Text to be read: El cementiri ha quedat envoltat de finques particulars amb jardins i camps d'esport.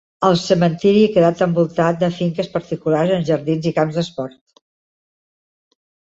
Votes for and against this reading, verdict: 2, 0, accepted